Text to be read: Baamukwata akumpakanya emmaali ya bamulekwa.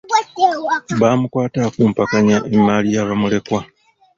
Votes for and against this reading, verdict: 1, 2, rejected